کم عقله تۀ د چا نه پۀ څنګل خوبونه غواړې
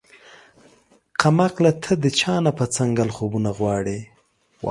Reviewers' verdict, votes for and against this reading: accepted, 2, 0